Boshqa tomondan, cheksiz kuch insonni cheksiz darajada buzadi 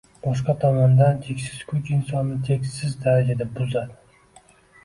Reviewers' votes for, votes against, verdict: 2, 0, accepted